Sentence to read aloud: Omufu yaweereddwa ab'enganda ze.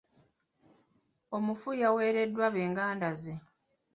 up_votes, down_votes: 1, 2